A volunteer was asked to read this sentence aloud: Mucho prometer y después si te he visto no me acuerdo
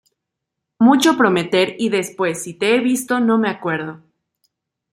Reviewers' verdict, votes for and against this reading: accepted, 2, 1